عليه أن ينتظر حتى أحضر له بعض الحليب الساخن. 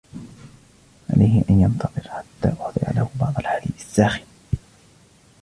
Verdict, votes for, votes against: rejected, 0, 2